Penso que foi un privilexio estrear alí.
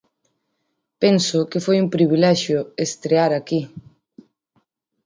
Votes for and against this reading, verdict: 0, 2, rejected